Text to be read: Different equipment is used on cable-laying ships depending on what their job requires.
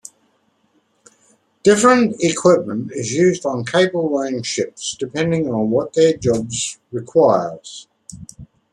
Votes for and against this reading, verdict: 2, 1, accepted